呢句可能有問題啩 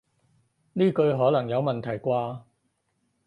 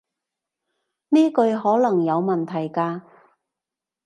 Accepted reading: first